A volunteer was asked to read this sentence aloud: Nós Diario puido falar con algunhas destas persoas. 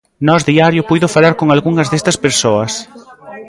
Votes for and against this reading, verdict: 2, 0, accepted